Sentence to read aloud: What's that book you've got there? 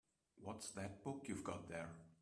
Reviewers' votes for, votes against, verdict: 2, 1, accepted